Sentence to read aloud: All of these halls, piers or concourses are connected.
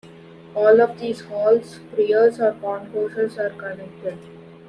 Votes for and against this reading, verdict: 1, 2, rejected